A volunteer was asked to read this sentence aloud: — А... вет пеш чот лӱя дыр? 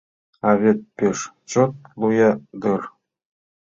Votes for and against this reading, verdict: 0, 2, rejected